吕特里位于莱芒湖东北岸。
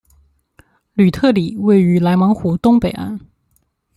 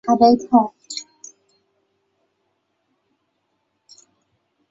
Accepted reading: first